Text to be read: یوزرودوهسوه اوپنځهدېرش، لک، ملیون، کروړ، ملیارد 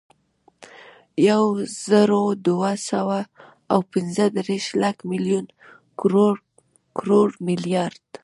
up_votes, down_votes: 2, 1